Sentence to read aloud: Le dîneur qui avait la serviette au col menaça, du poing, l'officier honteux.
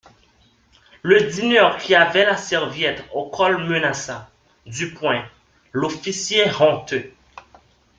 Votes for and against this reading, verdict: 1, 2, rejected